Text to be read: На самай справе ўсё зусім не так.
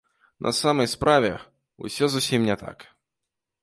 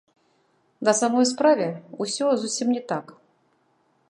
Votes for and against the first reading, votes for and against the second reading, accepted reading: 2, 0, 0, 2, first